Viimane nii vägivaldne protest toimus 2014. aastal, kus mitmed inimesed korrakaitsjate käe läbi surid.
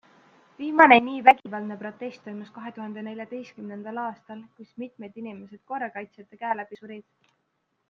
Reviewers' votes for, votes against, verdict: 0, 2, rejected